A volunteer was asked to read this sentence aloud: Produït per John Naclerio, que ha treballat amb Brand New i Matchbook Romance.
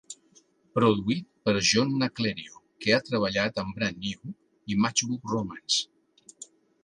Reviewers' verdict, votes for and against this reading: accepted, 2, 0